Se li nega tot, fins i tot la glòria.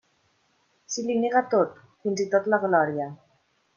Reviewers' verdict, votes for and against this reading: accepted, 2, 0